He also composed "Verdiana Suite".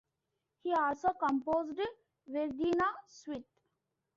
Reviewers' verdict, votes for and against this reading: rejected, 1, 2